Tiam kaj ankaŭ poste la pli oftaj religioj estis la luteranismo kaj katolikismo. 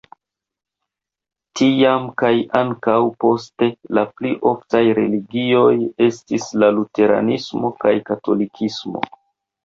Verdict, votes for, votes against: rejected, 0, 2